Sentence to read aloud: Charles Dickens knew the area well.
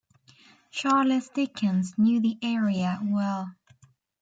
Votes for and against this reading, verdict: 1, 2, rejected